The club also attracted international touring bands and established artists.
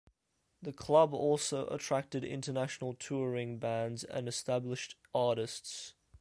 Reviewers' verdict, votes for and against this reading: accepted, 2, 0